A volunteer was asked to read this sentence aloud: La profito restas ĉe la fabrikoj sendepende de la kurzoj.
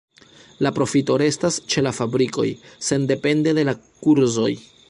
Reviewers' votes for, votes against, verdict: 0, 2, rejected